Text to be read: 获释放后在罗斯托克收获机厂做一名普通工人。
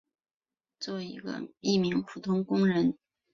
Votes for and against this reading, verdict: 0, 2, rejected